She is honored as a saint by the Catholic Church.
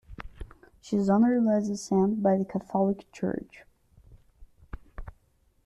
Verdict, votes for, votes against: rejected, 0, 2